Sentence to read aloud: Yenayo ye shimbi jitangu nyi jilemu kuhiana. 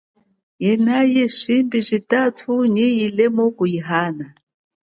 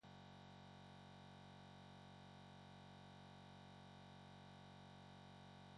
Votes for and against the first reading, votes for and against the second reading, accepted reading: 4, 3, 0, 2, first